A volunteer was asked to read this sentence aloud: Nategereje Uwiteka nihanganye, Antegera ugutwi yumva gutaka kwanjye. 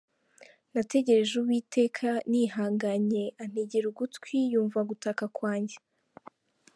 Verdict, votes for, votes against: accepted, 2, 0